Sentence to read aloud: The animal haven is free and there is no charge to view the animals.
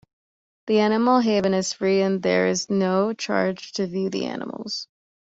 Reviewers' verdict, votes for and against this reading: accepted, 2, 0